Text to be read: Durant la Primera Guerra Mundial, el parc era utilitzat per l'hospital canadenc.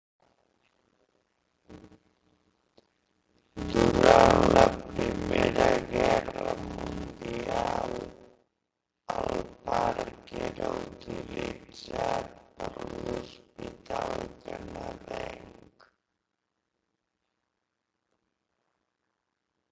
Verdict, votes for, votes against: rejected, 0, 2